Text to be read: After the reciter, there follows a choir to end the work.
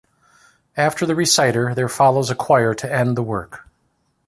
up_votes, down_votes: 2, 0